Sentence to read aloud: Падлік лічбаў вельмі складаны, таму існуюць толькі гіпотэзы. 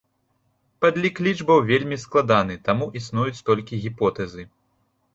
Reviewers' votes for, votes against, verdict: 2, 0, accepted